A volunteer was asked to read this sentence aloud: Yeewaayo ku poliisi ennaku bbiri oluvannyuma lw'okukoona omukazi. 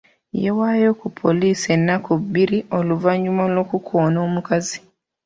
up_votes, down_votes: 2, 0